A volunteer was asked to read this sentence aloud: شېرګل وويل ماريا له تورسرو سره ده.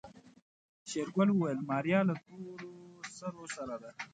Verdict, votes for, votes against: rejected, 0, 2